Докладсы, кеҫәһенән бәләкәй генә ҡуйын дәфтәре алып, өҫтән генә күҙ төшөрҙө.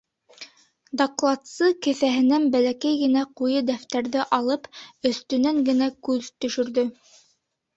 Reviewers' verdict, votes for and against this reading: rejected, 1, 3